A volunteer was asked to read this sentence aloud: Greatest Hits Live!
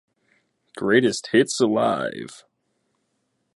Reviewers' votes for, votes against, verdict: 1, 2, rejected